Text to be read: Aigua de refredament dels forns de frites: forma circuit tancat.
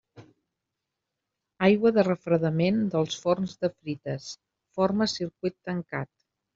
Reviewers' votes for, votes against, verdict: 3, 0, accepted